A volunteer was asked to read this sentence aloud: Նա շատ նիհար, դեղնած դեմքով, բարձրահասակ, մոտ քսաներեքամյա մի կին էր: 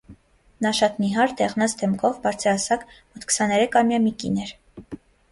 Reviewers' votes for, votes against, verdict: 2, 0, accepted